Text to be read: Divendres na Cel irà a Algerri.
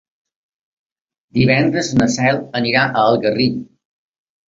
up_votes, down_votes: 1, 2